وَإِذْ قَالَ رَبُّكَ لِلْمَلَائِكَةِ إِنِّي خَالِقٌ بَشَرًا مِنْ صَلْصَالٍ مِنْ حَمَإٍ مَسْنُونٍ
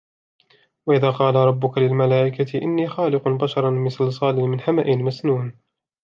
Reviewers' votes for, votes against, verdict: 2, 0, accepted